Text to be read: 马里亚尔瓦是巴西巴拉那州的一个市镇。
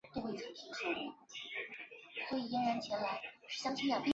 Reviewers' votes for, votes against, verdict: 0, 3, rejected